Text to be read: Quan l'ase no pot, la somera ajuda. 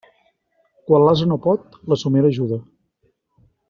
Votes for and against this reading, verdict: 2, 0, accepted